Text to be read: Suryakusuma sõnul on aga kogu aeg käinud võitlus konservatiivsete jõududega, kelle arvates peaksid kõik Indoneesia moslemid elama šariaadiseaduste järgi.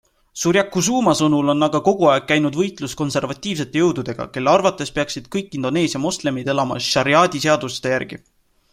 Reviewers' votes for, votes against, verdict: 2, 0, accepted